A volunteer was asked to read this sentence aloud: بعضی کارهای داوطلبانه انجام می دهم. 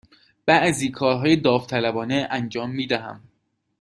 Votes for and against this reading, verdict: 2, 0, accepted